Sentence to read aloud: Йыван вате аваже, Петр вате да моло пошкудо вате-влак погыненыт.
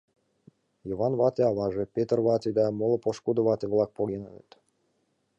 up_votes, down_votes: 1, 2